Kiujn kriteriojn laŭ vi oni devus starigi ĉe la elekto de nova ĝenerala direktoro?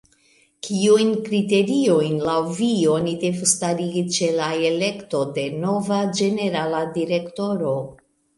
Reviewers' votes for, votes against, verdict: 0, 2, rejected